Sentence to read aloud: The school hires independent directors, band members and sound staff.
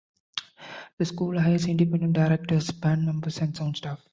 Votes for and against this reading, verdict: 2, 0, accepted